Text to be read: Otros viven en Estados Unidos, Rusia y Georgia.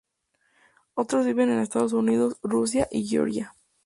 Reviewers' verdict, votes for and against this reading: accepted, 2, 0